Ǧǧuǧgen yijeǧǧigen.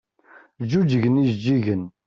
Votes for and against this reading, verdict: 2, 0, accepted